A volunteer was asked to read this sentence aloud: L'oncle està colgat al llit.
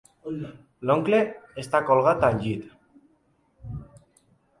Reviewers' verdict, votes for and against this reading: accepted, 3, 0